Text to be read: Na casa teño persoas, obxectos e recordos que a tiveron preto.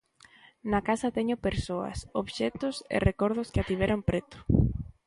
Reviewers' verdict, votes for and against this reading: accepted, 2, 0